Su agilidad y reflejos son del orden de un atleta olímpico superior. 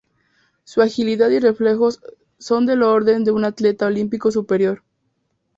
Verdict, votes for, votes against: accepted, 2, 0